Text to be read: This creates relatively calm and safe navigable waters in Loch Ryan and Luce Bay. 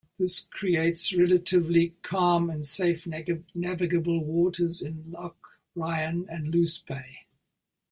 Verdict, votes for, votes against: rejected, 0, 2